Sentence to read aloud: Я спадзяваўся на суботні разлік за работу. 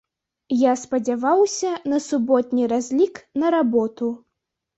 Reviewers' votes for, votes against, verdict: 1, 2, rejected